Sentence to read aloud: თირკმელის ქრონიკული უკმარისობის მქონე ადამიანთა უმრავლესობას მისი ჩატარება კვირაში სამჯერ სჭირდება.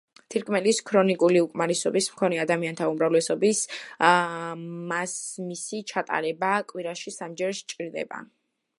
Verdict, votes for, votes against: rejected, 0, 2